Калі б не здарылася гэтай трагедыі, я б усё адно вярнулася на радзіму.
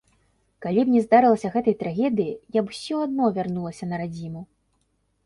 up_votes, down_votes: 0, 2